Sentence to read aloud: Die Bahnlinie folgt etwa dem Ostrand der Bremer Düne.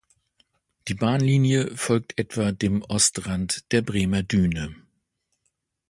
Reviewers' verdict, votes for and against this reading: accepted, 2, 0